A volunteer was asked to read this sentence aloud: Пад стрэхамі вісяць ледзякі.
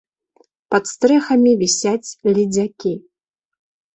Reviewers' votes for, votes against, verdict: 2, 0, accepted